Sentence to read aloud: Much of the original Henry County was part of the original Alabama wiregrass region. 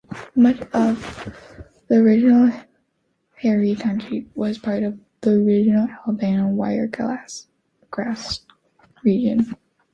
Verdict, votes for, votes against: rejected, 1, 3